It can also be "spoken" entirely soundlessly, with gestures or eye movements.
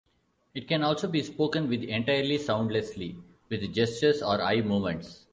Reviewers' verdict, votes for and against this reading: rejected, 0, 2